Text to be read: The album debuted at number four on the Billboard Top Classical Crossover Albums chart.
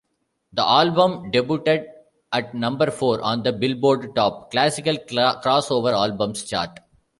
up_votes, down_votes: 1, 2